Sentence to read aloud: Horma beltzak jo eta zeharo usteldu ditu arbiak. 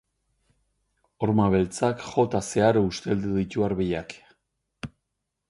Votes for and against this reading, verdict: 2, 2, rejected